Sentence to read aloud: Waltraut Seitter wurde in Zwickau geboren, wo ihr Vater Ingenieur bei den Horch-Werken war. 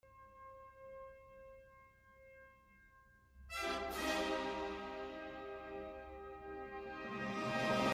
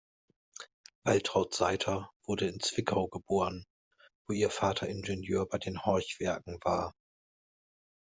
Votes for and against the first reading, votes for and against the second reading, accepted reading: 0, 2, 2, 1, second